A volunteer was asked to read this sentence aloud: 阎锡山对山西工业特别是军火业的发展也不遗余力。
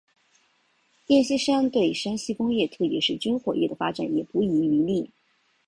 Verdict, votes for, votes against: accepted, 2, 1